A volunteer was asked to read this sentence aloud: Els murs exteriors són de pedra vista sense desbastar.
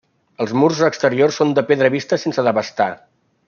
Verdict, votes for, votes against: rejected, 0, 2